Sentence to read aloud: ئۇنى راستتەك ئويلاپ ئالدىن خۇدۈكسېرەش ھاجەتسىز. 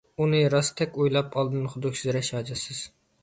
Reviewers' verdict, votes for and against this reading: accepted, 2, 0